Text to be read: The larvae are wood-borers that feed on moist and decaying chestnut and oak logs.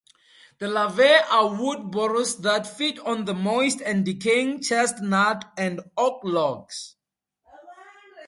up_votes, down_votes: 0, 2